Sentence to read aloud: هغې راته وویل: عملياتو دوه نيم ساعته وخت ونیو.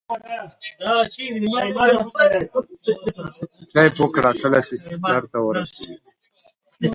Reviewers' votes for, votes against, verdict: 0, 2, rejected